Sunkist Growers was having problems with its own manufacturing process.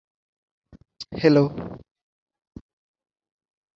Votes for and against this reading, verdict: 0, 2, rejected